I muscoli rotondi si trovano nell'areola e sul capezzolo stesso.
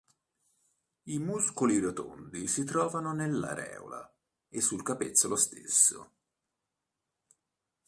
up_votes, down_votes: 2, 0